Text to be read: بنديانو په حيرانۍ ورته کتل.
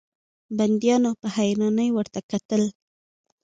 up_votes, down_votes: 2, 1